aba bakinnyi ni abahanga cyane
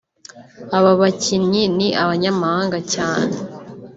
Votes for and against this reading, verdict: 1, 2, rejected